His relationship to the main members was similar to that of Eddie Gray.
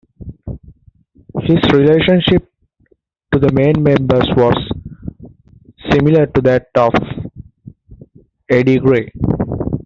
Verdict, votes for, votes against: rejected, 0, 2